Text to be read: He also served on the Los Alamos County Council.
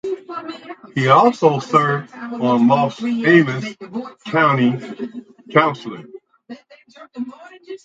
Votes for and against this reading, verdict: 2, 4, rejected